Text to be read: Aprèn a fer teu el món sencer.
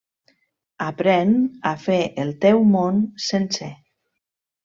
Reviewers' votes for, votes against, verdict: 1, 2, rejected